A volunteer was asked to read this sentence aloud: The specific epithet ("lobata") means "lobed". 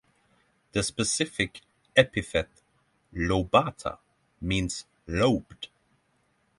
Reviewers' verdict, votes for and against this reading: rejected, 3, 3